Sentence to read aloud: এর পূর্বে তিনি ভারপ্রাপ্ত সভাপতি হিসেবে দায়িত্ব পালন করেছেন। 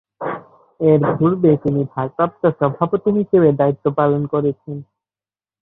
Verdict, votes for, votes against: rejected, 0, 2